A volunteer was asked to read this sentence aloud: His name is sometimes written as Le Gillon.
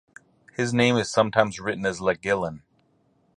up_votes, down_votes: 2, 2